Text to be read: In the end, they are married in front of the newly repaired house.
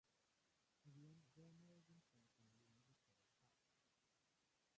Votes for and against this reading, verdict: 0, 2, rejected